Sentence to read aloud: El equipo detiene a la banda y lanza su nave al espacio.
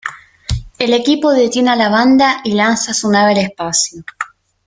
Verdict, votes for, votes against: accepted, 2, 0